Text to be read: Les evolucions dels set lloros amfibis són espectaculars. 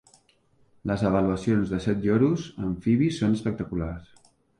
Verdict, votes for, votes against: rejected, 0, 2